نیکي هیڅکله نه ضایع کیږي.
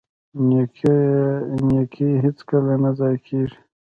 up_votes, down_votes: 2, 0